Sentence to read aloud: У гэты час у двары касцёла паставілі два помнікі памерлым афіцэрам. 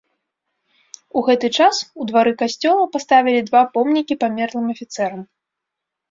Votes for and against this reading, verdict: 2, 0, accepted